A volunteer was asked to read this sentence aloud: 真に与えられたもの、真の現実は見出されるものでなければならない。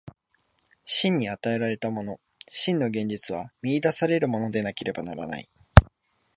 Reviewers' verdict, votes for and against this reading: accepted, 3, 0